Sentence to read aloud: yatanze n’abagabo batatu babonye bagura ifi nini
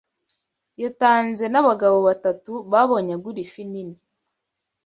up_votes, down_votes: 0, 2